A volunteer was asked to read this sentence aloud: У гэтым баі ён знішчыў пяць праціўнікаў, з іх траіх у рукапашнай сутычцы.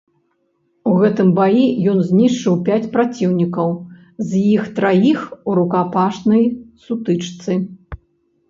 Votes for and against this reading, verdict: 1, 2, rejected